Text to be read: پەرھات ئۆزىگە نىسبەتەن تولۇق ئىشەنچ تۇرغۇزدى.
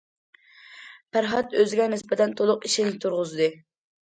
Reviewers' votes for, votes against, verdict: 1, 2, rejected